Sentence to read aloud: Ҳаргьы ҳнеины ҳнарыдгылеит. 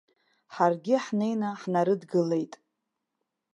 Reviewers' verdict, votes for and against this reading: accepted, 4, 0